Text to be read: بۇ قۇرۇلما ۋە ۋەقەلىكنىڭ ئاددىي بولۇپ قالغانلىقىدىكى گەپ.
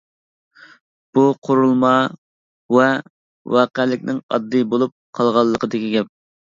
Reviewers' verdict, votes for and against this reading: accepted, 2, 0